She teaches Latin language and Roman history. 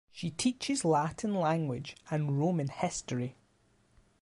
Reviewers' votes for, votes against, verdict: 2, 0, accepted